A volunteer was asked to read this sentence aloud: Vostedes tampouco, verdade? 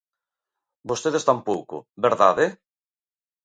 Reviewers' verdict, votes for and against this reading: accepted, 3, 0